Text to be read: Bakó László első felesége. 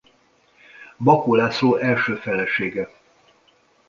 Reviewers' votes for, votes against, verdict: 2, 0, accepted